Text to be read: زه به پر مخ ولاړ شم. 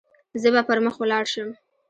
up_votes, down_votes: 2, 1